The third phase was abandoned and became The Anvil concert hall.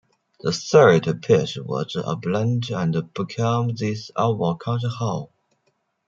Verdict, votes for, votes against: rejected, 1, 2